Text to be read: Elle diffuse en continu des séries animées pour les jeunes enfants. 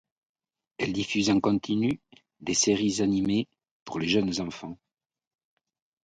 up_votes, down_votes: 2, 0